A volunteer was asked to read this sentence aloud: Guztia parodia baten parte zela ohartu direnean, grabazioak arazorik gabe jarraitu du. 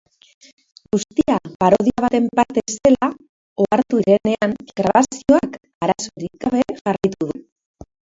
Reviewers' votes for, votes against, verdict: 0, 3, rejected